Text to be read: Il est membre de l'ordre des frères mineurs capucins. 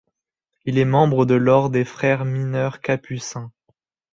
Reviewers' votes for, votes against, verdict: 1, 2, rejected